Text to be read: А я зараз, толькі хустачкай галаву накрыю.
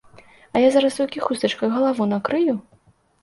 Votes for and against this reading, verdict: 2, 0, accepted